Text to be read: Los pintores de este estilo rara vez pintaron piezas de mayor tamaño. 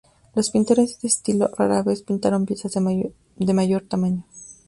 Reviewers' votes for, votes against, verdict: 0, 2, rejected